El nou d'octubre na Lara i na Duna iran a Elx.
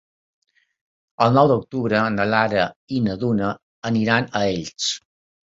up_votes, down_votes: 2, 3